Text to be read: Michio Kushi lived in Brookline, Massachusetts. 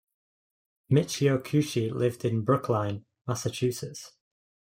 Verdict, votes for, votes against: accepted, 2, 0